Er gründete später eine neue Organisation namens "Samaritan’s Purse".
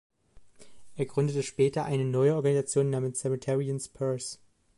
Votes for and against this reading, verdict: 0, 2, rejected